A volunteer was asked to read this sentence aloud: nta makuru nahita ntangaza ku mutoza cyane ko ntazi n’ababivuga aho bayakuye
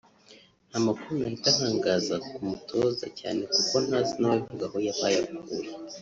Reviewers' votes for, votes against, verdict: 1, 2, rejected